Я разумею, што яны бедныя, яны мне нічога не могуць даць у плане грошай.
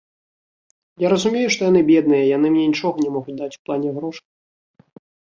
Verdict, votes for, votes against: rejected, 2, 3